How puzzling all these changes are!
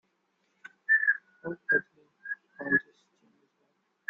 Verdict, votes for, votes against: rejected, 0, 2